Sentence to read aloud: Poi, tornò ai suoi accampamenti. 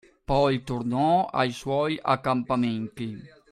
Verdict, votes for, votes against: accepted, 2, 1